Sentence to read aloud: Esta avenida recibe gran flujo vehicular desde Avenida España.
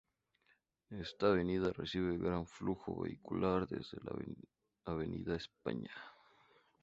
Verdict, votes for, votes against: accepted, 2, 0